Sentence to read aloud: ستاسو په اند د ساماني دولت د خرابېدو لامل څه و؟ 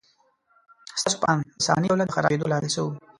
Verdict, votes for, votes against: rejected, 0, 2